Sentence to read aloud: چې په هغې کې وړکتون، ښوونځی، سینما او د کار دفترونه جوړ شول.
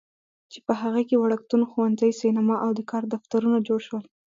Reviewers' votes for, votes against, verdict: 2, 1, accepted